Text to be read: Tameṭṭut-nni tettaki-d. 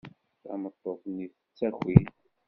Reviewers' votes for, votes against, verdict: 1, 2, rejected